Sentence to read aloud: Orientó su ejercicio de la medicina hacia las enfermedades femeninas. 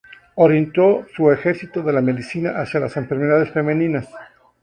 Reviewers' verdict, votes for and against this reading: rejected, 0, 2